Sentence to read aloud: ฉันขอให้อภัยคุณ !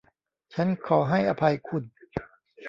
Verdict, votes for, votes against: rejected, 1, 2